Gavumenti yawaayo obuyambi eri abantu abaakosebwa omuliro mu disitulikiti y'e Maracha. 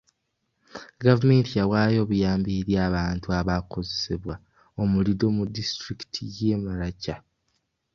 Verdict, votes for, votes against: accepted, 2, 1